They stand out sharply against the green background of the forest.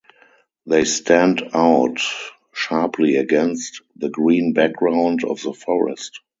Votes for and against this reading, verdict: 0, 2, rejected